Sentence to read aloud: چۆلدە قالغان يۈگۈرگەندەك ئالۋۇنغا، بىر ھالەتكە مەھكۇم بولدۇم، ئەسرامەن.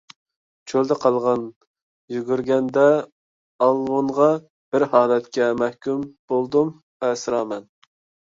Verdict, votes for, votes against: rejected, 0, 2